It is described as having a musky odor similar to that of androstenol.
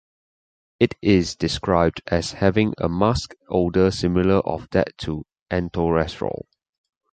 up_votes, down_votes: 2, 2